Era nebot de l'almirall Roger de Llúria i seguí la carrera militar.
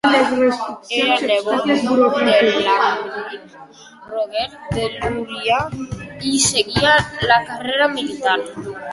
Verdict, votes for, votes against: rejected, 0, 2